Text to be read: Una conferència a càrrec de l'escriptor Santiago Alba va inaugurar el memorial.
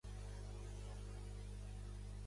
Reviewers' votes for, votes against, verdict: 0, 2, rejected